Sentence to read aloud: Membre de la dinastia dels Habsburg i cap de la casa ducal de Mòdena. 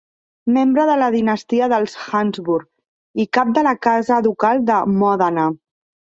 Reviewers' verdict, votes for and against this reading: rejected, 2, 4